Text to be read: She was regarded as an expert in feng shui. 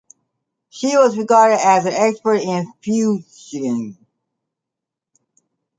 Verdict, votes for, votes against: rejected, 0, 2